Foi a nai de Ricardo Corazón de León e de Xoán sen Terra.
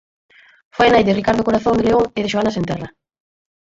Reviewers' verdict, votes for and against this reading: rejected, 0, 4